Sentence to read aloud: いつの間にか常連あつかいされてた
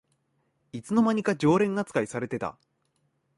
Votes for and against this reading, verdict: 2, 0, accepted